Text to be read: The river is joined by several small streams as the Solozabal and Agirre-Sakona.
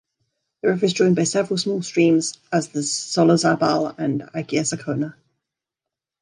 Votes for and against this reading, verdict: 2, 0, accepted